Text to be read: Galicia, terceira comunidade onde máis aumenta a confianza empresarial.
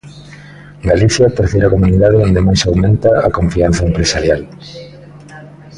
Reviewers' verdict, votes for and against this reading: rejected, 1, 2